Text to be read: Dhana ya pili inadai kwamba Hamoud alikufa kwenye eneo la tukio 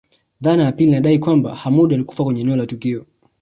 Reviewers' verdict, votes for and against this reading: accepted, 2, 0